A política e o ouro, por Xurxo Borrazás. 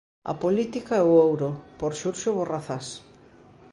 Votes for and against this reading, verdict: 2, 0, accepted